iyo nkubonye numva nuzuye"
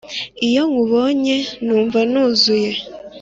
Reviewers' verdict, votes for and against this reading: accepted, 4, 0